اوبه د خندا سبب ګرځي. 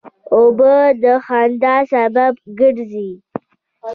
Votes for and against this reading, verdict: 2, 0, accepted